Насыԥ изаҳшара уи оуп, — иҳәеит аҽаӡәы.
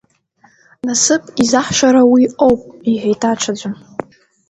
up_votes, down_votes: 0, 2